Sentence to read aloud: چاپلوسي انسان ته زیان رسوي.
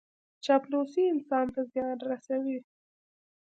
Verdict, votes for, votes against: accepted, 2, 0